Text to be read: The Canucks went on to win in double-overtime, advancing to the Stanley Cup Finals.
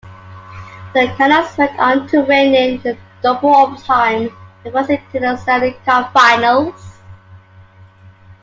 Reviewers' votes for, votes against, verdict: 1, 2, rejected